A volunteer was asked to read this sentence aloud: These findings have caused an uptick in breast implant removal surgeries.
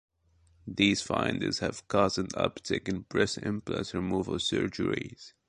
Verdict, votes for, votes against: accepted, 2, 0